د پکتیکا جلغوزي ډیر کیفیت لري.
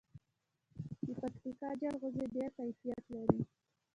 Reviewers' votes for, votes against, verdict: 0, 2, rejected